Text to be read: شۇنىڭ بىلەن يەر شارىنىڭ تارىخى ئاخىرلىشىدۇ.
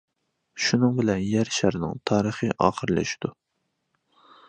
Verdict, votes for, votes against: accepted, 2, 0